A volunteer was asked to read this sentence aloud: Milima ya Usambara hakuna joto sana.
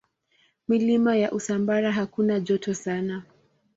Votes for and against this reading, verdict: 3, 0, accepted